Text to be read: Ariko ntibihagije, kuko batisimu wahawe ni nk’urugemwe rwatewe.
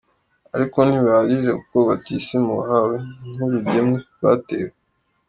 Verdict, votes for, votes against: accepted, 3, 1